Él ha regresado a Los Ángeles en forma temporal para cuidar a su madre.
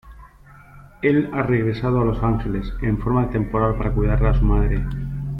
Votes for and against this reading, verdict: 2, 0, accepted